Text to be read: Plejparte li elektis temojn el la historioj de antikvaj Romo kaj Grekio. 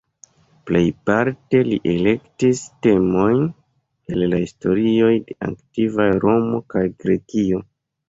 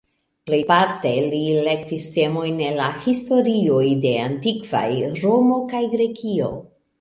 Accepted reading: first